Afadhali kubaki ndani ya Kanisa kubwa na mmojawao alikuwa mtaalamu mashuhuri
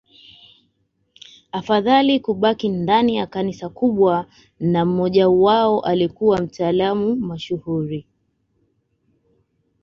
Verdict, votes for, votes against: accepted, 2, 1